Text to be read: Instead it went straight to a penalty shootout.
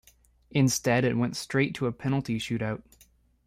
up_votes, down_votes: 1, 2